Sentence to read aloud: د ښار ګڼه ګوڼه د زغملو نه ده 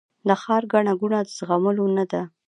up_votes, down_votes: 2, 0